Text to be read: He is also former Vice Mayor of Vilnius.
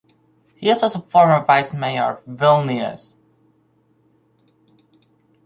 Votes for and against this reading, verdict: 0, 4, rejected